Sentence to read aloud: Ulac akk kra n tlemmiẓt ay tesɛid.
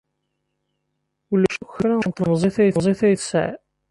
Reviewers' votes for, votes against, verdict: 0, 2, rejected